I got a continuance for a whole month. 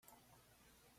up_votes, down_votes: 0, 3